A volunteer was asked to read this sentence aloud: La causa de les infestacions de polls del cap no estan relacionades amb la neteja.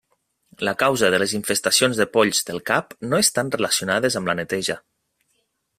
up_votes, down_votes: 4, 0